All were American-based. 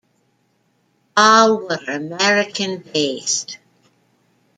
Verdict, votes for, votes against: rejected, 1, 2